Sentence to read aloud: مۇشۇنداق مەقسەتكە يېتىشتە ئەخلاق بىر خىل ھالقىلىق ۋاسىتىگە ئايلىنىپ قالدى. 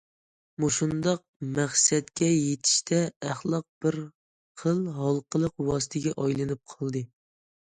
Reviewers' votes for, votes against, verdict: 2, 0, accepted